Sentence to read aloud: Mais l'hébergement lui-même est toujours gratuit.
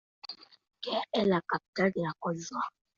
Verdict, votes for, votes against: rejected, 0, 2